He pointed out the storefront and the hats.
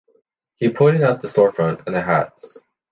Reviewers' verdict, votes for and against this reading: accepted, 2, 0